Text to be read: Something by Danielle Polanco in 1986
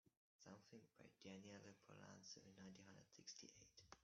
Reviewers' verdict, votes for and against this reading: rejected, 0, 2